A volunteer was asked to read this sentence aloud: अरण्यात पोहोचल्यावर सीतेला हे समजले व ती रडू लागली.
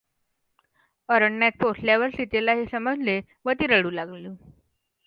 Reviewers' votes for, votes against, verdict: 2, 0, accepted